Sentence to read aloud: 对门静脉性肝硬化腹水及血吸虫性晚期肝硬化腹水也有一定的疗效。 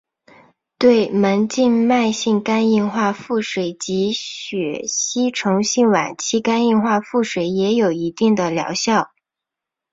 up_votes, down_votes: 3, 0